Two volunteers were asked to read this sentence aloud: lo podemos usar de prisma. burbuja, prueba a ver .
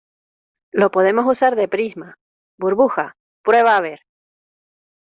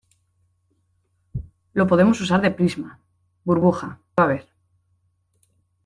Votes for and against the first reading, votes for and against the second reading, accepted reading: 2, 0, 1, 2, first